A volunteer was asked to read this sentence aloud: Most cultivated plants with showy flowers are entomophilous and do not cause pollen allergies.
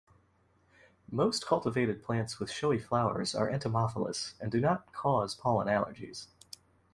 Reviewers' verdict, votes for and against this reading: accepted, 2, 0